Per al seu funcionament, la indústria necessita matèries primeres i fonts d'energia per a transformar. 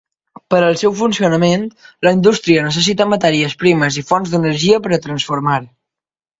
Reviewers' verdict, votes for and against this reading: rejected, 1, 2